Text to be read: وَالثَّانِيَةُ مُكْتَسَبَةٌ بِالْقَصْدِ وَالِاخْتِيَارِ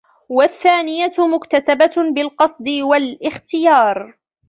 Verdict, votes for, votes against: rejected, 0, 2